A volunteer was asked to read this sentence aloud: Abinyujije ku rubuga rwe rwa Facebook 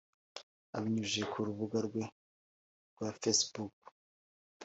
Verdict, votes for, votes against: accepted, 2, 0